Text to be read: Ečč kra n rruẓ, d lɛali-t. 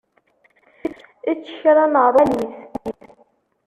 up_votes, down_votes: 0, 2